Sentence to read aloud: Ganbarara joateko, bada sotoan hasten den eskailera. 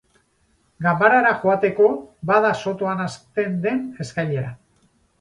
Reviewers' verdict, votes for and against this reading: rejected, 2, 2